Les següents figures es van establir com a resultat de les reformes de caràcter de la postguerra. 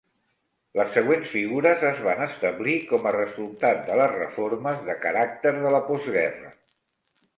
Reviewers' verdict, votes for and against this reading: accepted, 2, 0